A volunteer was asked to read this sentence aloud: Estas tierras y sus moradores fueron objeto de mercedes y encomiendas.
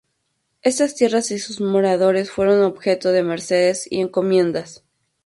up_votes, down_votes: 2, 0